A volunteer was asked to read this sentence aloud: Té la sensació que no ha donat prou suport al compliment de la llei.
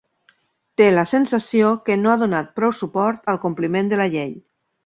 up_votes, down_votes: 4, 0